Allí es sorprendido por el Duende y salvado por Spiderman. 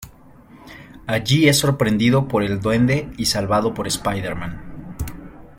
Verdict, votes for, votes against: accepted, 2, 0